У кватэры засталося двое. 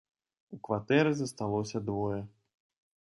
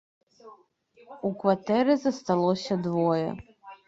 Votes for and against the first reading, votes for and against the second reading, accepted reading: 2, 0, 1, 2, first